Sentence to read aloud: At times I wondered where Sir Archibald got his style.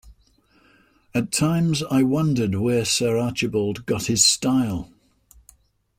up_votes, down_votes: 2, 0